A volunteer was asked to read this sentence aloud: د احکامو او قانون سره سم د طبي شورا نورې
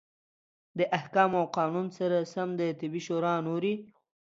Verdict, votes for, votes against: accepted, 2, 0